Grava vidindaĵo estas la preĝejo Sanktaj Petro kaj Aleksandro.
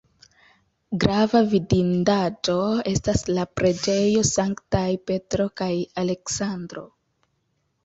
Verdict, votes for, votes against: accepted, 2, 0